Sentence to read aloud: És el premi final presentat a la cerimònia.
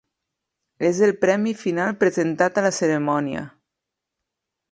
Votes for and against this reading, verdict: 0, 2, rejected